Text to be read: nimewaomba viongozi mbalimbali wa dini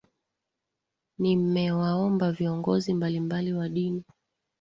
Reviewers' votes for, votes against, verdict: 1, 2, rejected